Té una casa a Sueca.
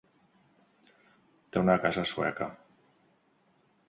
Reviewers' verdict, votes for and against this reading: accepted, 2, 0